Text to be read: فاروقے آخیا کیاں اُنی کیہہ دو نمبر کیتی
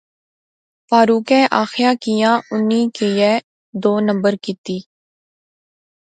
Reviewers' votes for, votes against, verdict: 0, 2, rejected